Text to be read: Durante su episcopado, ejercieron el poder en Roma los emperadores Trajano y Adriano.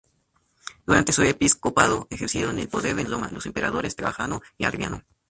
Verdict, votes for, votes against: rejected, 0, 2